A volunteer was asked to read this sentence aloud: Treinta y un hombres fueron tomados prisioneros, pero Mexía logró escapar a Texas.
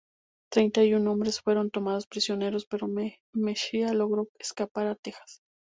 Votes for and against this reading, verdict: 4, 0, accepted